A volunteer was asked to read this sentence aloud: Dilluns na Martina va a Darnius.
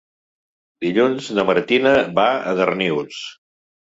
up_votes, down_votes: 2, 0